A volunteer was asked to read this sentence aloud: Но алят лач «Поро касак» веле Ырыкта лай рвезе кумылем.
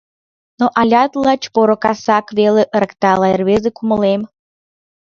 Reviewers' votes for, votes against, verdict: 1, 2, rejected